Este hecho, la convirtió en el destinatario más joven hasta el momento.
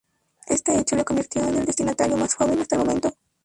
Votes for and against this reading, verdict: 2, 2, rejected